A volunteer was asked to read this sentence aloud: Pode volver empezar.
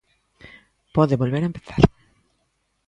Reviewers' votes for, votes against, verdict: 1, 2, rejected